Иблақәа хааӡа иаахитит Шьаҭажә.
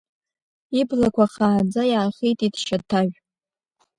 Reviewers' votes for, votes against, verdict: 3, 0, accepted